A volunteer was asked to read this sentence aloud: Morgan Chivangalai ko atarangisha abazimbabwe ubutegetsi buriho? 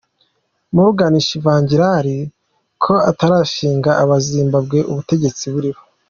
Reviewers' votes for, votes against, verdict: 3, 0, accepted